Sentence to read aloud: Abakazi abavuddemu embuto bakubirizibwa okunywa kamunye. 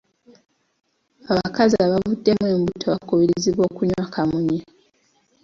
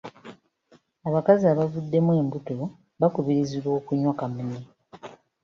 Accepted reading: first